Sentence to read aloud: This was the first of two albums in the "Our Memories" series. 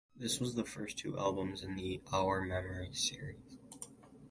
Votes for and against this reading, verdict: 4, 0, accepted